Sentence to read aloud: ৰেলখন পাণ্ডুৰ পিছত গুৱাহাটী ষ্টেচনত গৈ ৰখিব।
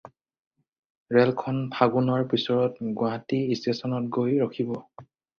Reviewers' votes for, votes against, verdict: 2, 4, rejected